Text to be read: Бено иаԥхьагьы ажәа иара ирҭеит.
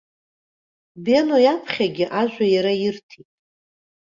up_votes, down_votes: 2, 0